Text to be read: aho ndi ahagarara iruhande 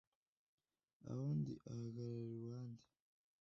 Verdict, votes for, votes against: rejected, 1, 2